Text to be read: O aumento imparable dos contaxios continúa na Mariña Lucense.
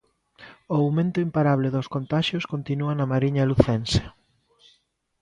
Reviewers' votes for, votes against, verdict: 2, 1, accepted